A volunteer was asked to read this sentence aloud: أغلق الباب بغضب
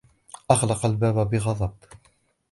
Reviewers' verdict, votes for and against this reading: accepted, 2, 0